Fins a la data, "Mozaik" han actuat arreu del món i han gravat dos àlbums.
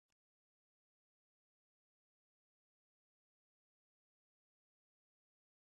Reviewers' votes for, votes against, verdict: 0, 2, rejected